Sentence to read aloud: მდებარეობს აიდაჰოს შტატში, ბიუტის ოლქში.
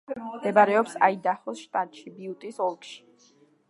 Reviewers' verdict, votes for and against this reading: rejected, 2, 3